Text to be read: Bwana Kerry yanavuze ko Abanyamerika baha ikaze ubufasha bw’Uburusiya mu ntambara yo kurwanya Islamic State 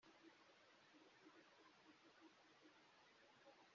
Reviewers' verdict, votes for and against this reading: rejected, 0, 2